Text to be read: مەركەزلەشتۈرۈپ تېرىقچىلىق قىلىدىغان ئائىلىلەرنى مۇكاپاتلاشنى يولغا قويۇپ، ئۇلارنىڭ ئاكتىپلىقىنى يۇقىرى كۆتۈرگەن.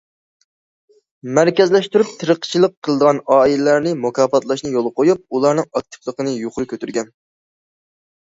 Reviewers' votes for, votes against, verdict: 2, 0, accepted